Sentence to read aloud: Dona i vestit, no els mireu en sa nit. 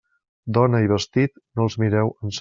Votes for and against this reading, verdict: 0, 2, rejected